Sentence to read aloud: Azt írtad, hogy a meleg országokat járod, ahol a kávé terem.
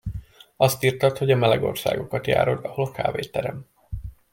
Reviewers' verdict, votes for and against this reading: rejected, 1, 2